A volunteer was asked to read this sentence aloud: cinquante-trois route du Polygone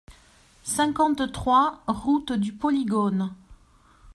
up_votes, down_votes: 2, 0